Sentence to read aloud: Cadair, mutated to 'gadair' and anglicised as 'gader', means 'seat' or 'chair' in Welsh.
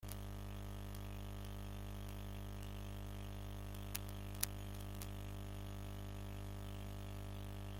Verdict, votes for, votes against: rejected, 0, 2